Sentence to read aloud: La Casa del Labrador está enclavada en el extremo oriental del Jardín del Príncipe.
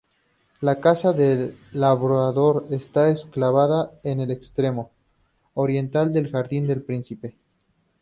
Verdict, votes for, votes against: rejected, 0, 2